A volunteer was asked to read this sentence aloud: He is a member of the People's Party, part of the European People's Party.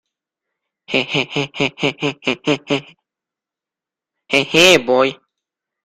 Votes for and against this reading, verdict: 0, 2, rejected